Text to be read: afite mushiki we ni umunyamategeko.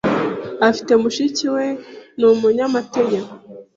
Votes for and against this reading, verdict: 2, 0, accepted